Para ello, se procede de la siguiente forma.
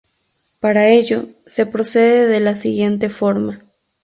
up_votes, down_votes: 0, 2